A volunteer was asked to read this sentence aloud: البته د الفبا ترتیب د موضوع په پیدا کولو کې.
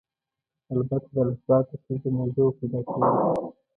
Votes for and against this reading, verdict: 1, 2, rejected